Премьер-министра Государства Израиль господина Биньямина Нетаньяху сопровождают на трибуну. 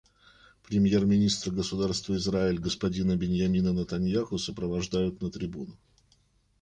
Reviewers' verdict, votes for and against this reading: rejected, 1, 2